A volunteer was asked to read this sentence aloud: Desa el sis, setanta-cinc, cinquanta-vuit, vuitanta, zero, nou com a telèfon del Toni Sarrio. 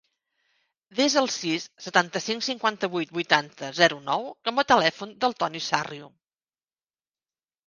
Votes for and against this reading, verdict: 2, 0, accepted